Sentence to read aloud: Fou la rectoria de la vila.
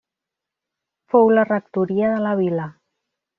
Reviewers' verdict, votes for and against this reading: accepted, 3, 0